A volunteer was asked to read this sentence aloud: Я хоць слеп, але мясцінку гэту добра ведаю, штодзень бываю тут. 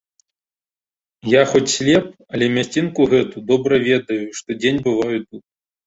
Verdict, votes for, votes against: accepted, 3, 0